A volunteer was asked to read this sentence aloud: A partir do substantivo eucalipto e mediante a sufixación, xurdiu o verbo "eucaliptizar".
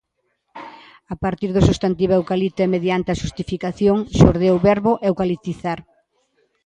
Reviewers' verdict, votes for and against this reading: rejected, 0, 2